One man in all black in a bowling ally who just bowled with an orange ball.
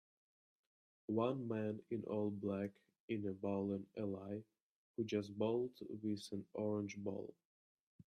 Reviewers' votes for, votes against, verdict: 1, 2, rejected